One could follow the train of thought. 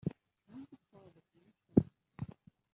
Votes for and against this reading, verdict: 0, 2, rejected